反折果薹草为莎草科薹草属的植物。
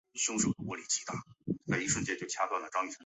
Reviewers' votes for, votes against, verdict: 2, 3, rejected